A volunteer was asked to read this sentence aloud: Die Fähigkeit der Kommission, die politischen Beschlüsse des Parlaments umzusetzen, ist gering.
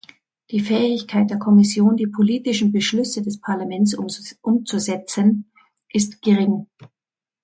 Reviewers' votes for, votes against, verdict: 0, 2, rejected